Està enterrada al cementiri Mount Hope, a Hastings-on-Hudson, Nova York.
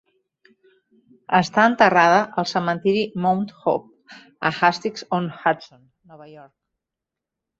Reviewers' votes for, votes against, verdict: 2, 0, accepted